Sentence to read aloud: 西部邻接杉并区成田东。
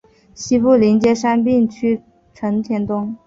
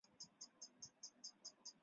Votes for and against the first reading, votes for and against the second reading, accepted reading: 3, 0, 1, 2, first